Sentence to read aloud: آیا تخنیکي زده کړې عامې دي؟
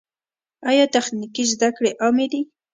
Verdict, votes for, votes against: accepted, 2, 0